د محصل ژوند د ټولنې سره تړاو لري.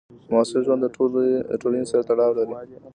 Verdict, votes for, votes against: accepted, 2, 1